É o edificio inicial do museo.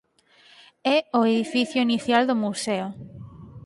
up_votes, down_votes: 4, 0